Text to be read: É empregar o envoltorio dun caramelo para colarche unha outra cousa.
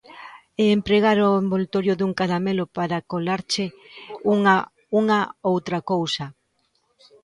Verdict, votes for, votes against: rejected, 0, 2